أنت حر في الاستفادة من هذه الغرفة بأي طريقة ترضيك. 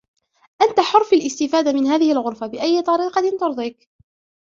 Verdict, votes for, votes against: rejected, 0, 2